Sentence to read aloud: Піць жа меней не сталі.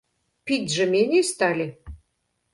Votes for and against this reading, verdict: 0, 2, rejected